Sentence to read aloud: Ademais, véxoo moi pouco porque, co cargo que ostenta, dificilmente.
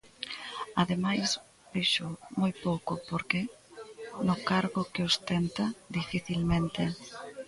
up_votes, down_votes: 0, 2